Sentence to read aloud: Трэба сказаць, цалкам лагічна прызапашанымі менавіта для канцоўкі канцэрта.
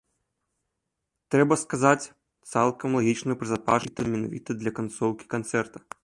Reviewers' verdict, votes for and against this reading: rejected, 1, 3